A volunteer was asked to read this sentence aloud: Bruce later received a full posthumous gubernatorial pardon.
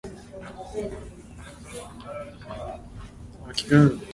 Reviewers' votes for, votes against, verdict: 0, 2, rejected